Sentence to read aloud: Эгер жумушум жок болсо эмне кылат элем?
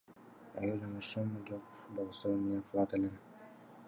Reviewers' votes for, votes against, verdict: 2, 0, accepted